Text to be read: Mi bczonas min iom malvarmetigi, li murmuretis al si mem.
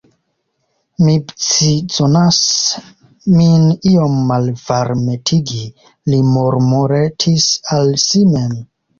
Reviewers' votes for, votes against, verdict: 2, 0, accepted